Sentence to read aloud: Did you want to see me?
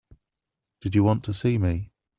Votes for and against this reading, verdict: 3, 0, accepted